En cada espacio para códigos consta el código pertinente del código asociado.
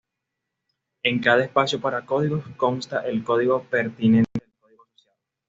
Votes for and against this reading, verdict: 2, 1, accepted